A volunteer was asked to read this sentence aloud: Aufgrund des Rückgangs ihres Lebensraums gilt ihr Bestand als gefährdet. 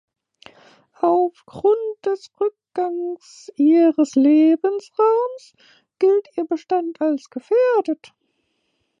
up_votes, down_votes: 2, 1